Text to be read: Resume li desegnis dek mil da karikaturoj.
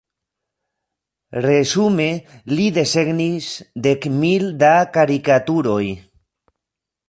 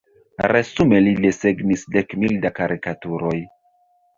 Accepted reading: first